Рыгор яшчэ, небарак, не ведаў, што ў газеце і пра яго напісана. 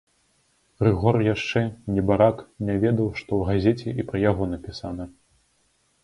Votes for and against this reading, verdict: 1, 2, rejected